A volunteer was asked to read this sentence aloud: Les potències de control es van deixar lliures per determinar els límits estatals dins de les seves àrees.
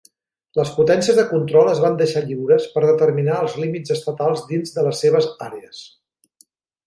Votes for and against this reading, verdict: 3, 0, accepted